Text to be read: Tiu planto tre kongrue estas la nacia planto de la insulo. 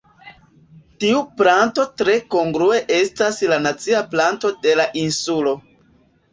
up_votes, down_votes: 1, 2